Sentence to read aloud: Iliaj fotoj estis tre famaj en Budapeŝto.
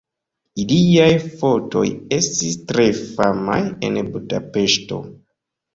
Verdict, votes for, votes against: rejected, 1, 2